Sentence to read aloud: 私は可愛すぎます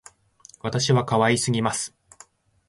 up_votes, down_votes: 2, 1